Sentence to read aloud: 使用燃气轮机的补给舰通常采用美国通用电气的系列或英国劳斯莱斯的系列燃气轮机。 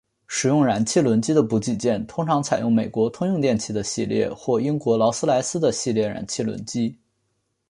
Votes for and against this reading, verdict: 2, 0, accepted